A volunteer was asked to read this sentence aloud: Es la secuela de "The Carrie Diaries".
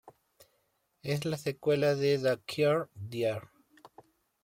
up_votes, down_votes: 1, 3